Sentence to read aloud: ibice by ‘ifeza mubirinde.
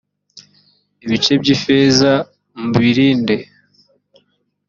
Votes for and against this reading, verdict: 2, 0, accepted